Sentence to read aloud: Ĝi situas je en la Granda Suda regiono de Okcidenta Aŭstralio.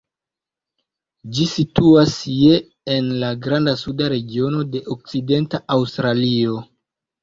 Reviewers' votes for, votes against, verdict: 2, 0, accepted